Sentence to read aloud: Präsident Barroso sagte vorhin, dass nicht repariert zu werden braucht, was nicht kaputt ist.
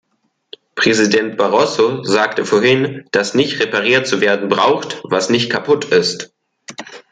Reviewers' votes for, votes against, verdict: 2, 0, accepted